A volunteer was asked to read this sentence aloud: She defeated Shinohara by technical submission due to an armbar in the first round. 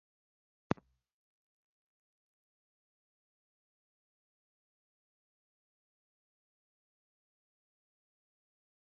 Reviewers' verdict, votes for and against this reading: rejected, 0, 2